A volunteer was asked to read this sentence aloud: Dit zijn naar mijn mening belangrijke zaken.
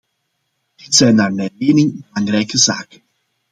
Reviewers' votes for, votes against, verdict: 2, 0, accepted